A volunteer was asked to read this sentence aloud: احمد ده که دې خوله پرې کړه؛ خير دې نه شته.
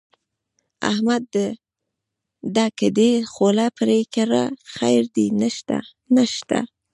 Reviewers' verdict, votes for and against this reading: rejected, 1, 2